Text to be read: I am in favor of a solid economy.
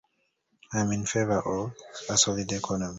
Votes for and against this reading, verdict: 0, 2, rejected